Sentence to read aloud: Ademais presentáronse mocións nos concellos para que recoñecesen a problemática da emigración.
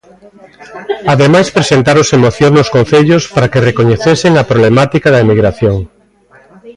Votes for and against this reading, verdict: 0, 2, rejected